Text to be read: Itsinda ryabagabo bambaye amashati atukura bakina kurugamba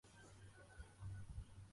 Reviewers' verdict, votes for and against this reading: rejected, 0, 2